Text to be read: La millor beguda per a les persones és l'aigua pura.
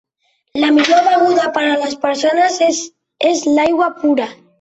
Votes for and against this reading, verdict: 0, 2, rejected